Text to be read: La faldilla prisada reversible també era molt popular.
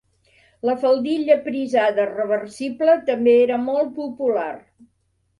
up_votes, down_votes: 2, 0